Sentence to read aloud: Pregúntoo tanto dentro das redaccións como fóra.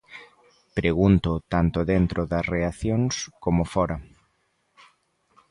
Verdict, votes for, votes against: rejected, 0, 2